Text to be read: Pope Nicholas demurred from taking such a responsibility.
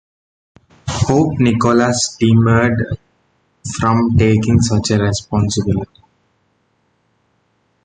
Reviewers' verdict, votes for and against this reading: accepted, 2, 1